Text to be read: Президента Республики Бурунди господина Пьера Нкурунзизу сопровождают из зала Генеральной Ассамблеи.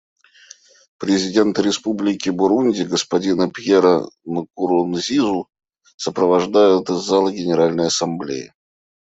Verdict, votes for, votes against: accepted, 2, 0